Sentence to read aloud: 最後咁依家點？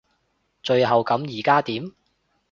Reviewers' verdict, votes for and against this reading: rejected, 1, 2